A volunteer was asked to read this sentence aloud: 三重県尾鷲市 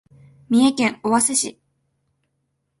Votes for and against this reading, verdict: 2, 0, accepted